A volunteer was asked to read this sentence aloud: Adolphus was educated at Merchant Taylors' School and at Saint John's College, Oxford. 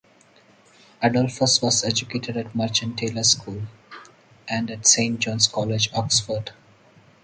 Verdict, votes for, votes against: accepted, 4, 0